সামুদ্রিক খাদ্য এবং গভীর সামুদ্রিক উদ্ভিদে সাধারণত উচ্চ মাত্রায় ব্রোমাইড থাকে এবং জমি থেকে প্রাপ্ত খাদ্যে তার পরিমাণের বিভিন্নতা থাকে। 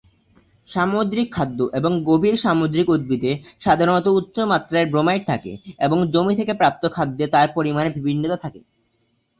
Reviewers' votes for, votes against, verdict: 2, 4, rejected